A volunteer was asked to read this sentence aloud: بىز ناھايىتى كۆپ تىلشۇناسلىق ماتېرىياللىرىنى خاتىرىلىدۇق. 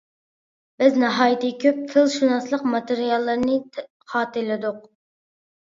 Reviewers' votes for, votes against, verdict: 2, 1, accepted